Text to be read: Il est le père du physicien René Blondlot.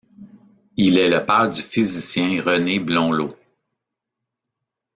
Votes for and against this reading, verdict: 0, 2, rejected